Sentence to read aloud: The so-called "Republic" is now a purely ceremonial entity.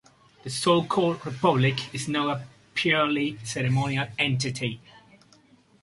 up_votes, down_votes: 2, 0